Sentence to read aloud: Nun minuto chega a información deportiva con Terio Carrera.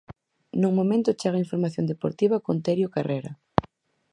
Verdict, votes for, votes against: rejected, 0, 4